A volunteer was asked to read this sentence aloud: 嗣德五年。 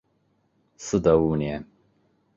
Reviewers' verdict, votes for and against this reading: accepted, 3, 2